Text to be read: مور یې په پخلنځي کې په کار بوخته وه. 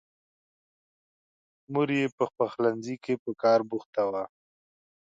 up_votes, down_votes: 2, 0